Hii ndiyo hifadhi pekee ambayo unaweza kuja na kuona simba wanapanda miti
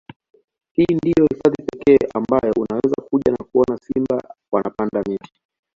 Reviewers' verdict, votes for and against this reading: accepted, 2, 0